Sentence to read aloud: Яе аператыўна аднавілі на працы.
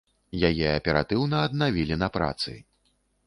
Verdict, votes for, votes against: accepted, 2, 0